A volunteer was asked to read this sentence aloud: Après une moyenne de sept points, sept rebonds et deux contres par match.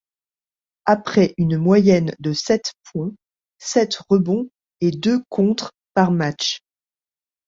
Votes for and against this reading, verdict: 2, 0, accepted